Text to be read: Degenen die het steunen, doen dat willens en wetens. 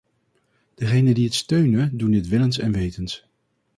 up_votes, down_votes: 2, 2